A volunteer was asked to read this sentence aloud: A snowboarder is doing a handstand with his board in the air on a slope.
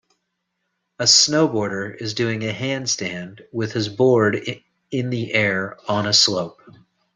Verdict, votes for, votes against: rejected, 1, 2